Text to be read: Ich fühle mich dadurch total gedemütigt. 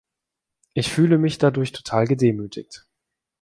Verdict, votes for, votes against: accepted, 2, 0